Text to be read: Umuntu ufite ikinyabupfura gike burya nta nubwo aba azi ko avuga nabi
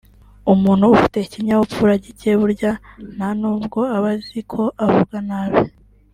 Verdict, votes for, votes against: rejected, 1, 2